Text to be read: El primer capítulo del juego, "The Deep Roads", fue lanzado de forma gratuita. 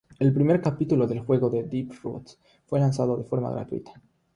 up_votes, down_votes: 0, 3